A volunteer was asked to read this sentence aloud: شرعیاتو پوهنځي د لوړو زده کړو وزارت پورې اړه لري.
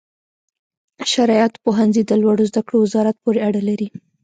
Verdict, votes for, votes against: rejected, 1, 2